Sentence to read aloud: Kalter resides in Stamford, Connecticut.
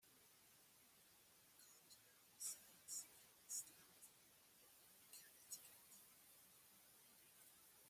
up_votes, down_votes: 0, 2